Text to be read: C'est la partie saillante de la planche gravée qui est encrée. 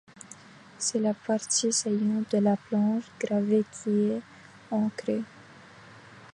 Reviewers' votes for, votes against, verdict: 2, 1, accepted